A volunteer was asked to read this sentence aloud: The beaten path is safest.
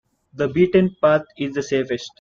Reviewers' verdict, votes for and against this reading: rejected, 0, 2